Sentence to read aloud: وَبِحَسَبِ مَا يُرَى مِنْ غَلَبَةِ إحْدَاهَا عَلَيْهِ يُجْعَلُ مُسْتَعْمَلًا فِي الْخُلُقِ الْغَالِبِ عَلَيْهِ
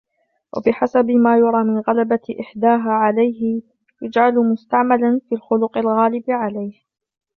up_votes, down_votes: 2, 0